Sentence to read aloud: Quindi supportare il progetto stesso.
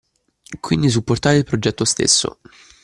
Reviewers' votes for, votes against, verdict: 2, 0, accepted